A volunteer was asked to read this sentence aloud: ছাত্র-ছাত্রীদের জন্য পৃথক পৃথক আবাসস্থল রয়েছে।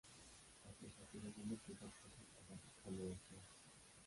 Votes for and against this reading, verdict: 0, 3, rejected